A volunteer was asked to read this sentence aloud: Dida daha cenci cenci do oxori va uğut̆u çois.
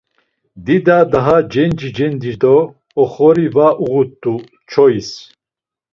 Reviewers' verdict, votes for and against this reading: accepted, 2, 0